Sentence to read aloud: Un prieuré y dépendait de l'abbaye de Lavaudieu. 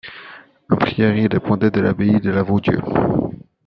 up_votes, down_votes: 0, 2